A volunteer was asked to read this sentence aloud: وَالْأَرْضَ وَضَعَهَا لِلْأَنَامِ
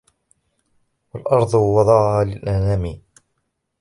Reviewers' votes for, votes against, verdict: 0, 2, rejected